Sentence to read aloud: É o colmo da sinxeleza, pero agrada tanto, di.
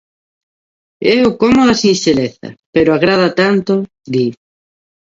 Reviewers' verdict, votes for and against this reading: accepted, 2, 0